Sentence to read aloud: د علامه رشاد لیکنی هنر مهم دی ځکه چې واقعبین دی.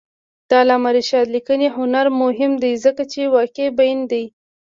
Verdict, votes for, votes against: rejected, 1, 2